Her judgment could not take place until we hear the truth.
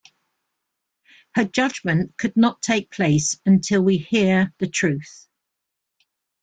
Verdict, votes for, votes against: accepted, 2, 0